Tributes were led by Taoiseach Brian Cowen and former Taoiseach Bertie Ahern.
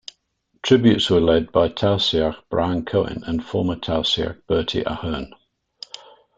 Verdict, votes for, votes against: rejected, 1, 2